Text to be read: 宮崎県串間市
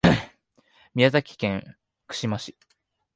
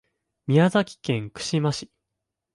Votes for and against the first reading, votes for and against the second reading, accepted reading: 0, 2, 2, 0, second